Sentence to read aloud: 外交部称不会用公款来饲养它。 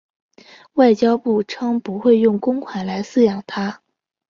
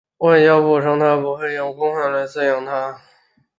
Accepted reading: first